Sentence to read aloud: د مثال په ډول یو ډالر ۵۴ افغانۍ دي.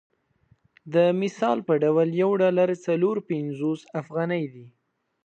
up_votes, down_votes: 0, 2